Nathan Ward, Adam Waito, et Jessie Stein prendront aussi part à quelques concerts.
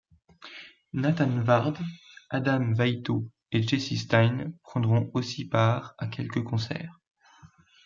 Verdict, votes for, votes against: accepted, 2, 0